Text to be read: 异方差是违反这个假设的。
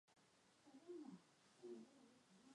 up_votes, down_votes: 0, 3